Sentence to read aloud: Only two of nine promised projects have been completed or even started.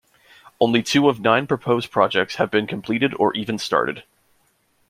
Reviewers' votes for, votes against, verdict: 0, 2, rejected